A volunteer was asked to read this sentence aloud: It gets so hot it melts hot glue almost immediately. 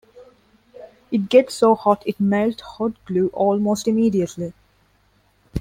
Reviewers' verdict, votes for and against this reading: rejected, 0, 2